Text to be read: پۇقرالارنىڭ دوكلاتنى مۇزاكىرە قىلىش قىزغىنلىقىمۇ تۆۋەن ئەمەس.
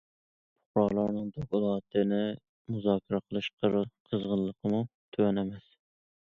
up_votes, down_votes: 2, 1